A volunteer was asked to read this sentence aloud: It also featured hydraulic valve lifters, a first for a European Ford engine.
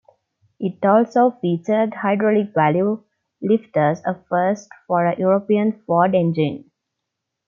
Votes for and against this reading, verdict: 1, 2, rejected